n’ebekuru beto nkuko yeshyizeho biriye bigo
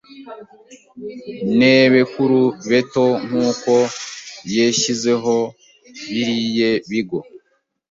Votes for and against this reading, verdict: 0, 2, rejected